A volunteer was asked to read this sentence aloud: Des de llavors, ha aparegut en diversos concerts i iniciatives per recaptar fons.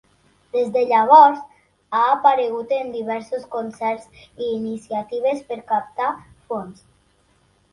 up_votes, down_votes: 1, 2